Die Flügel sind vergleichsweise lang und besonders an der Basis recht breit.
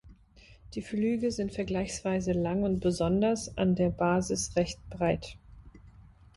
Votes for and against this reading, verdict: 2, 0, accepted